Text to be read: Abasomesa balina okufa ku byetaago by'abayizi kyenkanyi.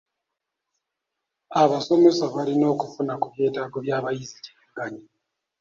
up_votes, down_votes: 1, 2